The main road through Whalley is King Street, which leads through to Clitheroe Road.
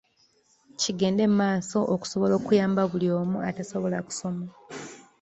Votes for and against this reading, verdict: 0, 2, rejected